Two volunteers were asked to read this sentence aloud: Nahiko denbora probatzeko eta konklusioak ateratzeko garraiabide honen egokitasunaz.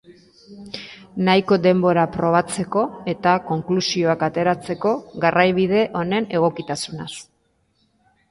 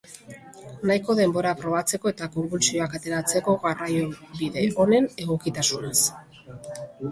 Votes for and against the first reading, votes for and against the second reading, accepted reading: 2, 1, 1, 2, first